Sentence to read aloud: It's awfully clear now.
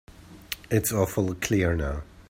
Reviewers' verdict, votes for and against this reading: rejected, 1, 2